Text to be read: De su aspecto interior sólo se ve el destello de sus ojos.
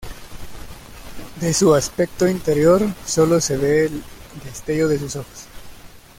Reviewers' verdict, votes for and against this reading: rejected, 0, 2